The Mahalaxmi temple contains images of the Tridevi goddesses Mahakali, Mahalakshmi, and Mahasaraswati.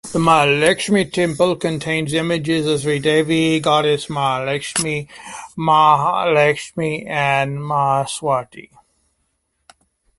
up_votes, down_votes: 2, 1